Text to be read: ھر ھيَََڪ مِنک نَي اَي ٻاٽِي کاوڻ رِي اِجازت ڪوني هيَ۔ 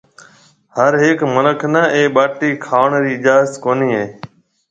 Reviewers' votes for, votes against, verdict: 2, 0, accepted